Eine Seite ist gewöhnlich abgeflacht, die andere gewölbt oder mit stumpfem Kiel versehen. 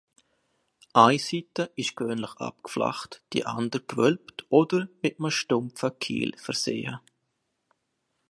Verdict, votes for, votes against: rejected, 1, 2